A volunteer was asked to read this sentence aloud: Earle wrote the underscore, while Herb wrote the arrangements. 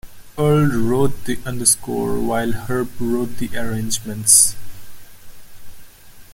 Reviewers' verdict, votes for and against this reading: accepted, 2, 0